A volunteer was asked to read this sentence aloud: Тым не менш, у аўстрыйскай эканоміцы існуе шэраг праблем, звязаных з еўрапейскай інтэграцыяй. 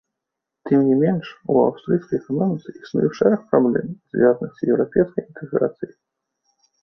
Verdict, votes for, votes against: rejected, 0, 2